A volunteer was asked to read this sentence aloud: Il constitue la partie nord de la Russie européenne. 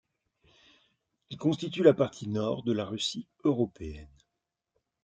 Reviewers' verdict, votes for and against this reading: accepted, 2, 0